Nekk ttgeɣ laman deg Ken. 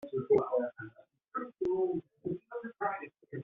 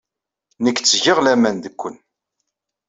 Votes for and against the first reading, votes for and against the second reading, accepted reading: 0, 2, 2, 0, second